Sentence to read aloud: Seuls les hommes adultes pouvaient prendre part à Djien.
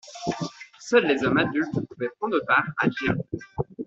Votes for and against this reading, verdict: 0, 2, rejected